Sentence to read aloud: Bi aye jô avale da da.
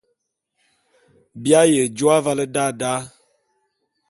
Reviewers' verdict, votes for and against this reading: accepted, 2, 0